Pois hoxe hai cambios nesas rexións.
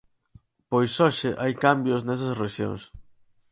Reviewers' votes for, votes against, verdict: 4, 0, accepted